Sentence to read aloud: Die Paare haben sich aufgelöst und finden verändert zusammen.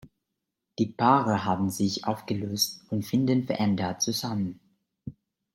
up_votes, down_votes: 2, 1